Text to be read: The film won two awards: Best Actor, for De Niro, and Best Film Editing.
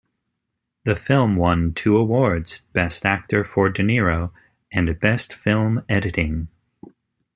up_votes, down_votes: 2, 0